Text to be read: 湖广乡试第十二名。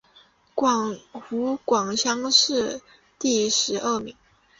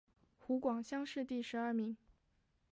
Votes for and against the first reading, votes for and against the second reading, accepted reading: 0, 2, 2, 1, second